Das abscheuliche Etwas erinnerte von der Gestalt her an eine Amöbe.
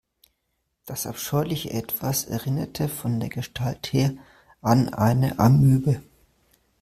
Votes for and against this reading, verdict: 2, 0, accepted